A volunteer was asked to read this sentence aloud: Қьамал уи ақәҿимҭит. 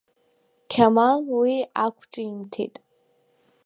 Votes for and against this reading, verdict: 2, 0, accepted